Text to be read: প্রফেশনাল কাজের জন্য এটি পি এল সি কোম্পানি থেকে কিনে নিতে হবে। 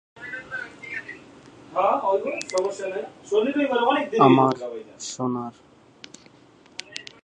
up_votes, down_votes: 0, 3